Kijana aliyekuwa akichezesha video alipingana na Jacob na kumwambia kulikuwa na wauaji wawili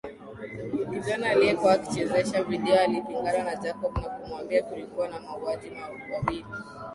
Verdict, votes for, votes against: accepted, 13, 0